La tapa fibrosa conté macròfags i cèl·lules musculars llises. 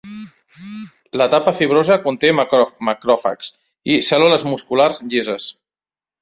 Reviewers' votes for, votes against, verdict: 1, 2, rejected